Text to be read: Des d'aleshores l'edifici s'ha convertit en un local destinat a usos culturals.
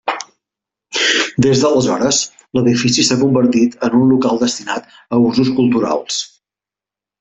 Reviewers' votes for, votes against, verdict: 3, 0, accepted